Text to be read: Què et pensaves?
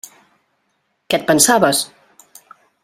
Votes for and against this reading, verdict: 3, 0, accepted